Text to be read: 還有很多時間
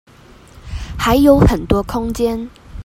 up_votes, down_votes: 0, 2